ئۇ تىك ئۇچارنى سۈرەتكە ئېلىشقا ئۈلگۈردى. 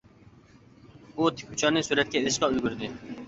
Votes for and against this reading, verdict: 2, 1, accepted